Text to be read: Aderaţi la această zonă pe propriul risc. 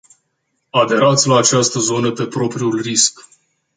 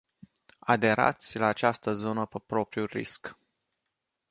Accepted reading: first